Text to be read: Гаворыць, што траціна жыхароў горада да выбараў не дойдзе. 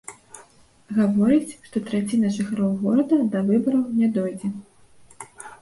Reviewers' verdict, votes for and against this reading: accepted, 2, 0